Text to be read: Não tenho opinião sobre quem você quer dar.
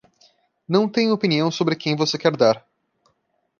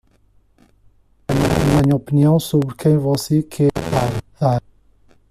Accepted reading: first